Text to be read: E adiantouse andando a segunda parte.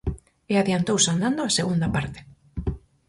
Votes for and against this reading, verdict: 4, 0, accepted